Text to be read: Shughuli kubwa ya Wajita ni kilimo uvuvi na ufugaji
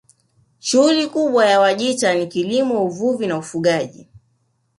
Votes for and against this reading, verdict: 3, 0, accepted